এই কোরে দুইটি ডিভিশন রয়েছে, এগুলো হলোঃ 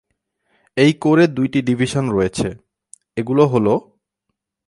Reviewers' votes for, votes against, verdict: 2, 0, accepted